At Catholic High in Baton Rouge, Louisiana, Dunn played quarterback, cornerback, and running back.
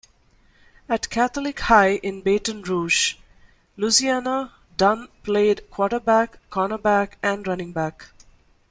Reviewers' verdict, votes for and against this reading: accepted, 2, 1